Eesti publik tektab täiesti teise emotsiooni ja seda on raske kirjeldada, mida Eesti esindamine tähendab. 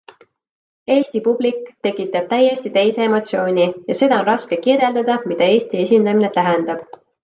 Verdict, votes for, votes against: accepted, 2, 0